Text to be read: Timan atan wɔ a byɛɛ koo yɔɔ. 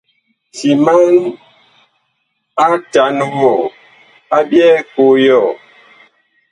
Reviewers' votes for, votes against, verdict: 1, 2, rejected